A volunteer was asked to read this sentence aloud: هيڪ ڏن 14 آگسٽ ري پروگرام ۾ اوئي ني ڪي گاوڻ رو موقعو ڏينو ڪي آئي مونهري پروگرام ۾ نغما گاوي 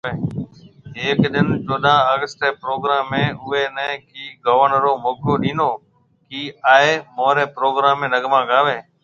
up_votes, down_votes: 0, 2